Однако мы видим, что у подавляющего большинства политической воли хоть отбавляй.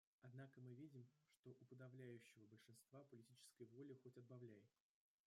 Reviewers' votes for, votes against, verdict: 1, 2, rejected